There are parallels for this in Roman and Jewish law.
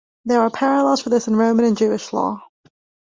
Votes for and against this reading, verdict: 2, 0, accepted